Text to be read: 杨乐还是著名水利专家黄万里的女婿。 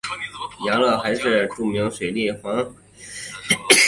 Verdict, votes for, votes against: rejected, 0, 3